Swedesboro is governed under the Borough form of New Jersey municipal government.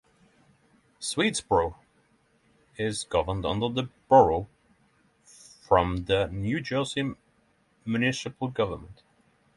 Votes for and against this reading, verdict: 0, 6, rejected